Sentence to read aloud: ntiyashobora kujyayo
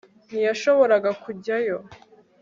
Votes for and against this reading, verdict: 2, 1, accepted